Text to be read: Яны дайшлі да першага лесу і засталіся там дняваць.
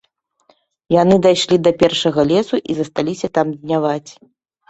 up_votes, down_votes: 3, 0